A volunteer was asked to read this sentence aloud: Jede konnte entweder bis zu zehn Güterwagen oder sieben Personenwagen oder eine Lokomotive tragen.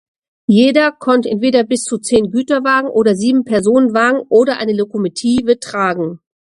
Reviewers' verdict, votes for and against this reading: rejected, 1, 2